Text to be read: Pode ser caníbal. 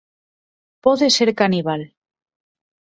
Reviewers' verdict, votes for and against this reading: accepted, 6, 0